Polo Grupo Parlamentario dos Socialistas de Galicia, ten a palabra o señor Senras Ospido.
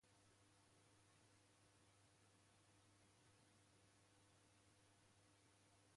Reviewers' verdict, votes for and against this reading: rejected, 1, 2